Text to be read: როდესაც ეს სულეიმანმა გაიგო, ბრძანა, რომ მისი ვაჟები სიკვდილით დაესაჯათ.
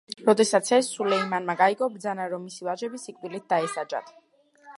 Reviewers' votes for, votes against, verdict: 2, 0, accepted